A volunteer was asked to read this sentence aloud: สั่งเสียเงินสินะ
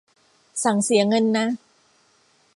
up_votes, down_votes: 1, 2